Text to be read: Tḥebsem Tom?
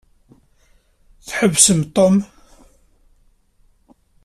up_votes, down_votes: 2, 1